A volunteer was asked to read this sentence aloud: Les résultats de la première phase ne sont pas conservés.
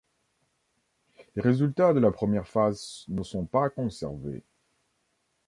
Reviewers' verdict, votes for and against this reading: rejected, 1, 2